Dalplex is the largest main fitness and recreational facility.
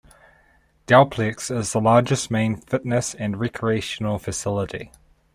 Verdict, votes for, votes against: accepted, 2, 0